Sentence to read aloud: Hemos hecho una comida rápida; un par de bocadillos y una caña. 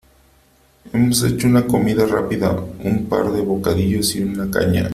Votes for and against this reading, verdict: 3, 0, accepted